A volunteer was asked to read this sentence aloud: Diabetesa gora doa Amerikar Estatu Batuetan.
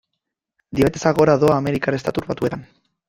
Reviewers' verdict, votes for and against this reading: accepted, 2, 1